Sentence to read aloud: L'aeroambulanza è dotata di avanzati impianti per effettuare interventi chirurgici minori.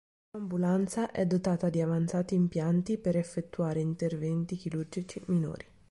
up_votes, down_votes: 0, 2